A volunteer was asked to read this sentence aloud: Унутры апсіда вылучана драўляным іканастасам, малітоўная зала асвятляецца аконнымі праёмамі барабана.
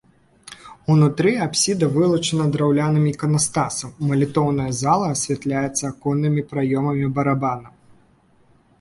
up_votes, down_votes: 2, 0